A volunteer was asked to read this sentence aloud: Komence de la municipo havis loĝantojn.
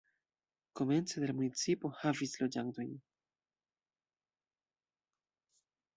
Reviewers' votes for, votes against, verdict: 2, 0, accepted